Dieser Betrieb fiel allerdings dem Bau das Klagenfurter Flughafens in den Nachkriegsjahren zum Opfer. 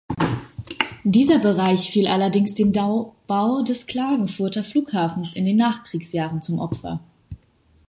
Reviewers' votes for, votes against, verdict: 0, 2, rejected